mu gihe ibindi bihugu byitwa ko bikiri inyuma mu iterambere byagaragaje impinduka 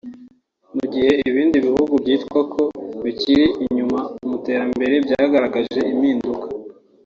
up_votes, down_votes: 4, 0